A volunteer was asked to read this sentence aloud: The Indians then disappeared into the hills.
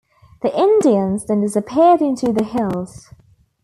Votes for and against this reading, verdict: 2, 0, accepted